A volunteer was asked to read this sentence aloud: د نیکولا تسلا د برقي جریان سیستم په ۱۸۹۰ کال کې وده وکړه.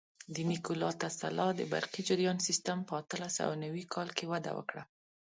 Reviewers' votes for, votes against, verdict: 0, 2, rejected